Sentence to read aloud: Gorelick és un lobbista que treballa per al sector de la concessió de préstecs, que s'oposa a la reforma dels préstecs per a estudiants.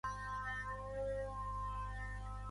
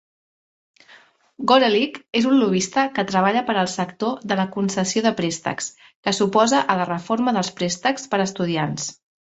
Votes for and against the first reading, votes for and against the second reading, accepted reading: 0, 2, 2, 0, second